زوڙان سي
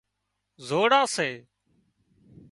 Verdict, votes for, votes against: accepted, 2, 0